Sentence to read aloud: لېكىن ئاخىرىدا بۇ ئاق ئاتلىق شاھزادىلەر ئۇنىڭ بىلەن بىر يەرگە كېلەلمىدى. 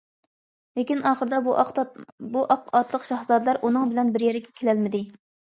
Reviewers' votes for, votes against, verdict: 1, 2, rejected